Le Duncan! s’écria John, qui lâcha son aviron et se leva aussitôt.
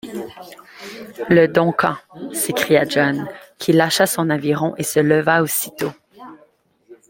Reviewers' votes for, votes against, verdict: 2, 0, accepted